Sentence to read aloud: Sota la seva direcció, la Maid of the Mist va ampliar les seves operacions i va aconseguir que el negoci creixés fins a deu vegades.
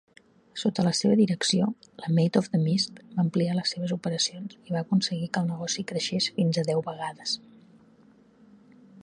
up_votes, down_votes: 2, 0